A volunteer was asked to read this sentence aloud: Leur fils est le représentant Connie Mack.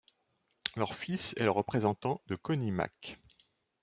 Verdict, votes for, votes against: rejected, 0, 2